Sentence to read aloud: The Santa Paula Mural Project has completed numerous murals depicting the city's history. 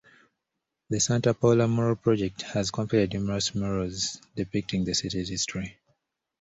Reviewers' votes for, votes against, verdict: 2, 1, accepted